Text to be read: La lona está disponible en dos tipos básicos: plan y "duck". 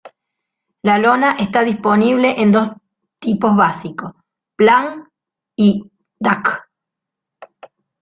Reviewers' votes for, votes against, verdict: 1, 2, rejected